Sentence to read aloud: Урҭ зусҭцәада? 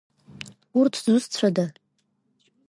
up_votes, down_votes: 2, 0